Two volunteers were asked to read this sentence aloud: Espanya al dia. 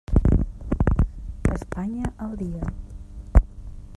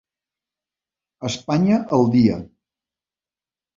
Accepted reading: second